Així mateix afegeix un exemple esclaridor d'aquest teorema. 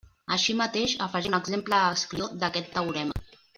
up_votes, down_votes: 0, 2